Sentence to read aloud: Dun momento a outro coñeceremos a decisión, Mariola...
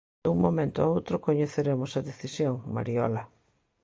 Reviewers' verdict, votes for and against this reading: accepted, 2, 0